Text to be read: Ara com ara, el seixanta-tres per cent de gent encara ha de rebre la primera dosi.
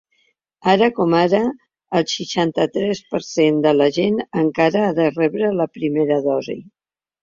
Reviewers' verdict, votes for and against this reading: rejected, 0, 2